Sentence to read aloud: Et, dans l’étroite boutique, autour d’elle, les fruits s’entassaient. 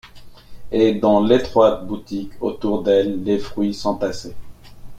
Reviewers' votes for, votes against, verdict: 2, 0, accepted